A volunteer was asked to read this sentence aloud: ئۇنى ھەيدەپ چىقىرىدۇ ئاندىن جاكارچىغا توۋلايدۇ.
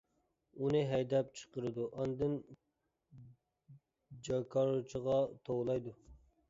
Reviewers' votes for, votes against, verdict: 0, 2, rejected